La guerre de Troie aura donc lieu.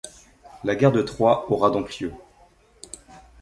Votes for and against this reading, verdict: 2, 0, accepted